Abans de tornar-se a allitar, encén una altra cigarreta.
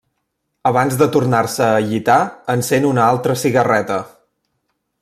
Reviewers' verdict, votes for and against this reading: rejected, 1, 2